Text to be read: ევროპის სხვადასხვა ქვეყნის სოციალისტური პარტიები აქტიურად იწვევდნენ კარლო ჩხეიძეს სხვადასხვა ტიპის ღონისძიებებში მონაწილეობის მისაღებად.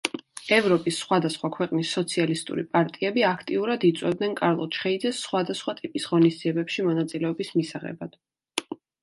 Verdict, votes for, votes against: accepted, 2, 0